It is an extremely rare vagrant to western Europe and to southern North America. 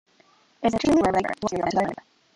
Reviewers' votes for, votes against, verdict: 0, 2, rejected